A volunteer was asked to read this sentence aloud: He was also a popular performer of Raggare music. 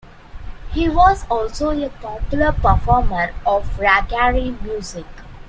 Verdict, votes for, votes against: accepted, 2, 1